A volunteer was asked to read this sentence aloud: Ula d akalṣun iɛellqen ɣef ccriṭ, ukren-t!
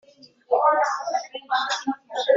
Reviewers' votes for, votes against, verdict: 0, 2, rejected